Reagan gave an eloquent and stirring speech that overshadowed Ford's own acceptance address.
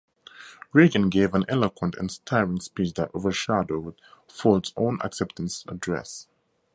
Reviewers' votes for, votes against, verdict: 0, 2, rejected